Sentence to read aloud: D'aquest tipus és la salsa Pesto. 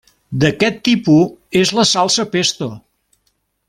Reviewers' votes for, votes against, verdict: 1, 2, rejected